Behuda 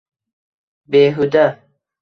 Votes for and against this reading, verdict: 2, 1, accepted